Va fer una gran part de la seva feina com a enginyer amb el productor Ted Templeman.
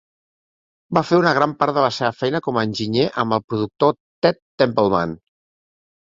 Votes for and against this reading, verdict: 5, 0, accepted